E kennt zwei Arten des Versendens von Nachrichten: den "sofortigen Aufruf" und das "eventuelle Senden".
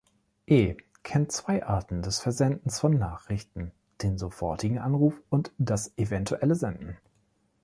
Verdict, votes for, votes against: rejected, 0, 3